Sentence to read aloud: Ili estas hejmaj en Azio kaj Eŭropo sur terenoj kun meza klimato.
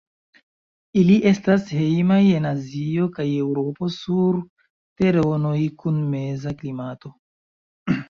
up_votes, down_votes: 0, 2